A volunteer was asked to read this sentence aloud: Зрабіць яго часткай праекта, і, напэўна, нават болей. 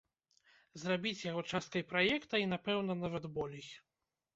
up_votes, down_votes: 2, 0